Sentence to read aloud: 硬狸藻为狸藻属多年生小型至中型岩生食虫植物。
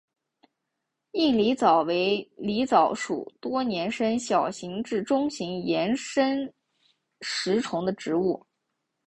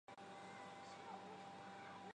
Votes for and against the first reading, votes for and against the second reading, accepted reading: 2, 0, 2, 3, first